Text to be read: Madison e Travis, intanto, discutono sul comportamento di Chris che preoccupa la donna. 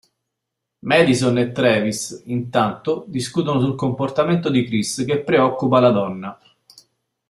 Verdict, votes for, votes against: accepted, 2, 0